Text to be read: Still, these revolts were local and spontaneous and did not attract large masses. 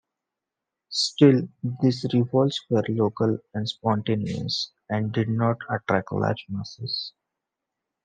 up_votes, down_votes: 2, 1